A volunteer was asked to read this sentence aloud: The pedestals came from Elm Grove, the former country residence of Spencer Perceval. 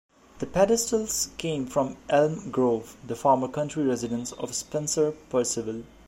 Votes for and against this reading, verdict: 2, 0, accepted